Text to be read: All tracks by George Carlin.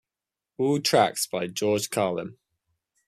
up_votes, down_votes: 2, 0